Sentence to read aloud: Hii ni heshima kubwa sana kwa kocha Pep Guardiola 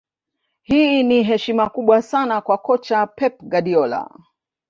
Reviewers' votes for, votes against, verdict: 4, 1, accepted